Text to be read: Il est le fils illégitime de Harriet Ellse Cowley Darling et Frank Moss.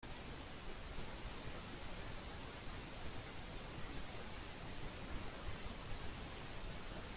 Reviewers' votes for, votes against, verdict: 0, 2, rejected